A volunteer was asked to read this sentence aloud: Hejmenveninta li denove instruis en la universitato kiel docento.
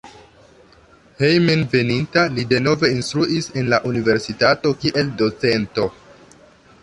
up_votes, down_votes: 2, 0